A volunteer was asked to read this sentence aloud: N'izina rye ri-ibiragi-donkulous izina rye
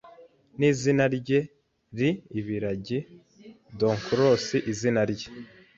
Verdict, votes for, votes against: accepted, 2, 0